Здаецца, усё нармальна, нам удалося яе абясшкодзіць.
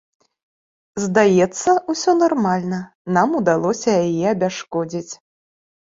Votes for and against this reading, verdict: 2, 0, accepted